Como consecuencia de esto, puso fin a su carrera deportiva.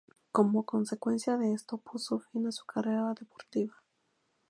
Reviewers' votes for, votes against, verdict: 0, 2, rejected